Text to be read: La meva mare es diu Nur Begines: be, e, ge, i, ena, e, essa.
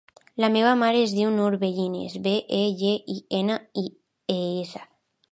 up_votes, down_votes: 2, 0